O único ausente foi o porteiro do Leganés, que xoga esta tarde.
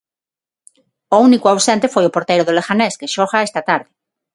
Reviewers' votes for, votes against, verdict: 6, 0, accepted